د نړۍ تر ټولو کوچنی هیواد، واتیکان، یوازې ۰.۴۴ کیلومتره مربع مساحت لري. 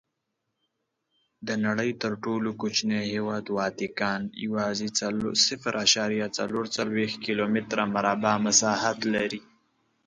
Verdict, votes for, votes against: rejected, 0, 2